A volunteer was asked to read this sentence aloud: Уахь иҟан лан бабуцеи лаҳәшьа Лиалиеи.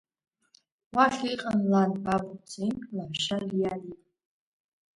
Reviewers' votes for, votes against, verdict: 1, 2, rejected